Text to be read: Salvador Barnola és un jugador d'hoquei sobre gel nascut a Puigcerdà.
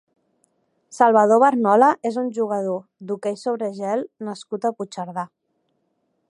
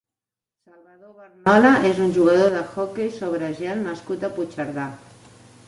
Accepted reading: first